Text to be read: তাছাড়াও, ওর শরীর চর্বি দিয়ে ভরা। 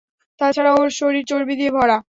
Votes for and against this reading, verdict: 2, 0, accepted